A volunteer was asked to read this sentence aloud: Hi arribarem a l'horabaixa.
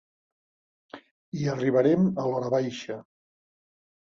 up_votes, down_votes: 2, 0